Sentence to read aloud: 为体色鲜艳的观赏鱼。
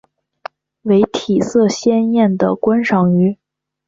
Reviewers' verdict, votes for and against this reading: accepted, 2, 1